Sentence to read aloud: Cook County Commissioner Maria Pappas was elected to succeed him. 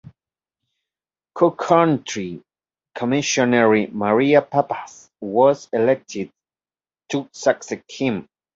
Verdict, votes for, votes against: accepted, 2, 1